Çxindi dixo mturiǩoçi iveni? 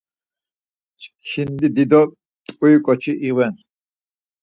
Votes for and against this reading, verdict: 0, 4, rejected